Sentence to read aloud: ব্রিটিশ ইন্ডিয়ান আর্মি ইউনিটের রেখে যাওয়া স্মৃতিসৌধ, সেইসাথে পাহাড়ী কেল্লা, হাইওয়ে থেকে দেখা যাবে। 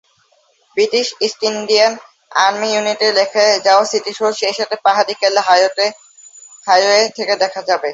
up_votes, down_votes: 0, 2